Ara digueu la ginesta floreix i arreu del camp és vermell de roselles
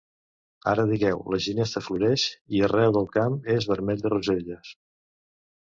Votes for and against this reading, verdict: 2, 0, accepted